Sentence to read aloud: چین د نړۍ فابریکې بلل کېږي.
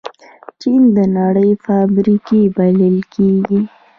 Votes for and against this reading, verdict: 2, 3, rejected